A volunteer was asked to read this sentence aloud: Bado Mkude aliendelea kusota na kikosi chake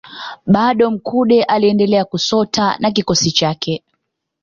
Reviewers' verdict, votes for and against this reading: accepted, 2, 0